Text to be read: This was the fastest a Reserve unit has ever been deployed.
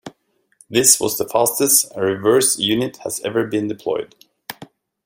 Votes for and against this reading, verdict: 0, 2, rejected